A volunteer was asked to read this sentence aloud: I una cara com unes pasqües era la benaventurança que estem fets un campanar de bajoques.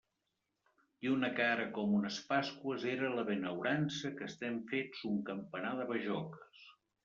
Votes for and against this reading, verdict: 1, 2, rejected